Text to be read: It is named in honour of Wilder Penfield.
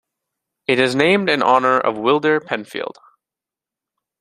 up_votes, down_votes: 2, 0